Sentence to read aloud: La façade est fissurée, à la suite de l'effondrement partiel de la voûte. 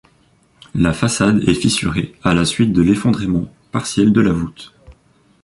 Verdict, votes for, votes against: accepted, 2, 0